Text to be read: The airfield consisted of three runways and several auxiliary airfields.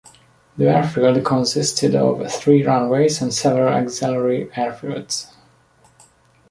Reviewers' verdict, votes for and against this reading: accepted, 2, 0